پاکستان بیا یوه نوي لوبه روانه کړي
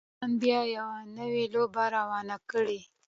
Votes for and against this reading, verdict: 1, 2, rejected